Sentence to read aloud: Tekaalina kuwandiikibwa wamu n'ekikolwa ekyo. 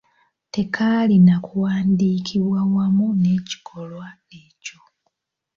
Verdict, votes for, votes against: accepted, 2, 0